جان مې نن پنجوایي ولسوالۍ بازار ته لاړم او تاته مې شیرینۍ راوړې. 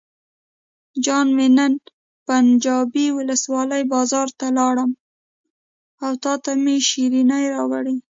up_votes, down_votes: 1, 2